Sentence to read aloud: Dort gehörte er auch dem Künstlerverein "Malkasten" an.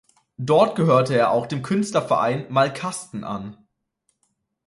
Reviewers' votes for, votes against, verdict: 2, 0, accepted